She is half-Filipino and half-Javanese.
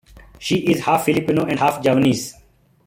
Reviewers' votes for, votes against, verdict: 2, 0, accepted